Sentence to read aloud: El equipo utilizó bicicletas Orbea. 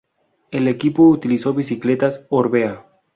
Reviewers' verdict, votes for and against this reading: rejected, 0, 2